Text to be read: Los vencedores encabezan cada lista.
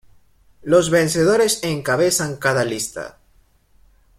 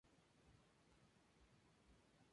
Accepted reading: second